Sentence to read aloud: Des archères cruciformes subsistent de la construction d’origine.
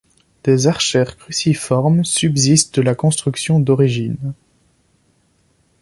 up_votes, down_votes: 2, 0